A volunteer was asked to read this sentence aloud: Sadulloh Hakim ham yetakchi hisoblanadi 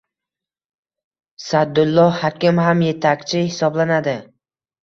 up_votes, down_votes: 2, 0